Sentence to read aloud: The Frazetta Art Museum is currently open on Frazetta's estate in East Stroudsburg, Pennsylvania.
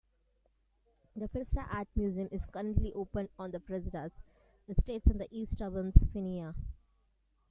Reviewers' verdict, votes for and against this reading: rejected, 1, 2